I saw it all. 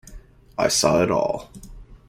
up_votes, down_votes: 2, 0